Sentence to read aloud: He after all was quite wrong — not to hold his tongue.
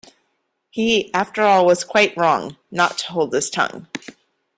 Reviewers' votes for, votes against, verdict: 2, 0, accepted